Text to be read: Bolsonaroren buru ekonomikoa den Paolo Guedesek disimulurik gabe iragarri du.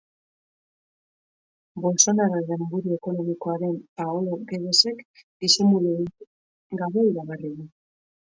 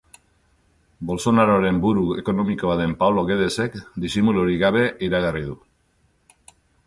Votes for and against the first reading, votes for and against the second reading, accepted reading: 0, 2, 2, 0, second